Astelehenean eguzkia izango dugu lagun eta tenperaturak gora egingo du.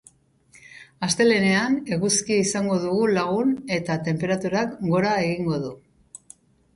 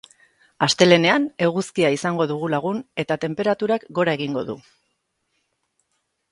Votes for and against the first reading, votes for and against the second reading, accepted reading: 2, 2, 8, 0, second